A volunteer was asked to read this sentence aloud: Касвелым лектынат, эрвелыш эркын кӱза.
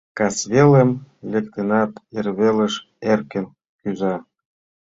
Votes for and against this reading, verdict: 2, 1, accepted